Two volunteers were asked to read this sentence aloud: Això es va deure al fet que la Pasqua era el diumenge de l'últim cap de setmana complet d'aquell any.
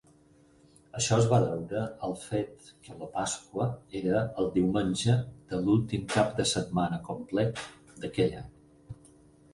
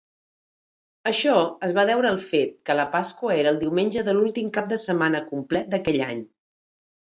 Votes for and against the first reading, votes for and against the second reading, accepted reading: 0, 4, 2, 0, second